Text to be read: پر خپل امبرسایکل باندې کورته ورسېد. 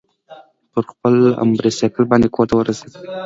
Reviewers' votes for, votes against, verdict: 2, 1, accepted